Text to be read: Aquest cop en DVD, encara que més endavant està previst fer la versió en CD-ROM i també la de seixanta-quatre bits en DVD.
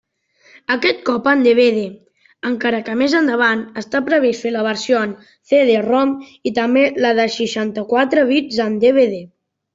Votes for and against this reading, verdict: 2, 0, accepted